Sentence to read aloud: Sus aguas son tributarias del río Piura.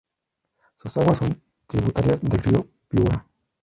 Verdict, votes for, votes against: rejected, 0, 2